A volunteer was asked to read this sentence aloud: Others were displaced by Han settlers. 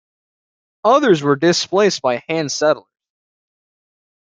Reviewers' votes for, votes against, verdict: 0, 2, rejected